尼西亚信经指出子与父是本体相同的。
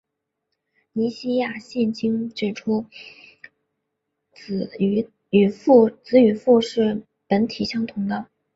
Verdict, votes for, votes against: accepted, 2, 0